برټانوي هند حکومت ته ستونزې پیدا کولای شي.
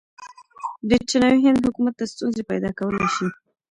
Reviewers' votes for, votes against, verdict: 0, 2, rejected